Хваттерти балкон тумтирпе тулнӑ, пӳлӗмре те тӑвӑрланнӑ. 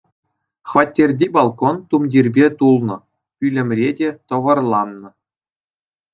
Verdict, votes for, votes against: accepted, 2, 0